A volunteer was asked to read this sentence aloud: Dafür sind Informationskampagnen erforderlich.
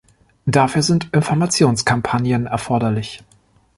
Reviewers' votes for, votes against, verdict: 2, 0, accepted